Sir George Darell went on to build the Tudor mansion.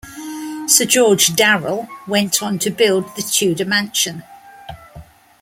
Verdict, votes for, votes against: accepted, 2, 0